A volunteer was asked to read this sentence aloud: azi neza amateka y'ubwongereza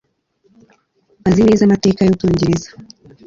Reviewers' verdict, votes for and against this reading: accepted, 2, 0